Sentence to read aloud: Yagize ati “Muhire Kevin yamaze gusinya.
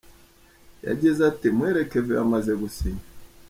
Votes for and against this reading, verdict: 3, 1, accepted